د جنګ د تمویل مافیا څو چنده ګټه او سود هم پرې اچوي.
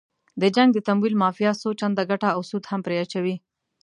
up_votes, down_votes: 2, 0